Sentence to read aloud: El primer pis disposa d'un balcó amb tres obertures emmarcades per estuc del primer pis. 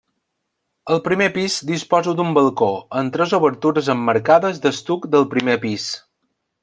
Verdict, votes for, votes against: rejected, 0, 2